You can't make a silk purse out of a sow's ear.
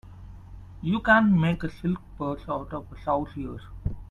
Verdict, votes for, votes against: rejected, 0, 2